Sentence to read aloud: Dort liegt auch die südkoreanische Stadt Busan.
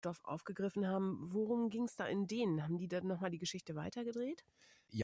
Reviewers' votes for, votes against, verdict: 0, 2, rejected